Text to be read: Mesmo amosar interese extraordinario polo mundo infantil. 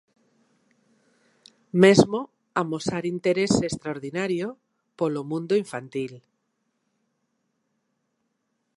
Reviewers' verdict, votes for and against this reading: accepted, 2, 0